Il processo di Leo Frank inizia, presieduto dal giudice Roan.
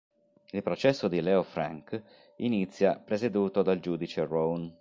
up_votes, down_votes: 3, 1